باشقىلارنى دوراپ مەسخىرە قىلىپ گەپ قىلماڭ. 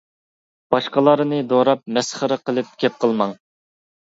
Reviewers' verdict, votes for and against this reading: accepted, 2, 0